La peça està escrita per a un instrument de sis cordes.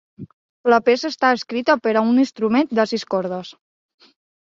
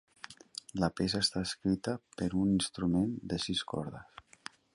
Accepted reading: first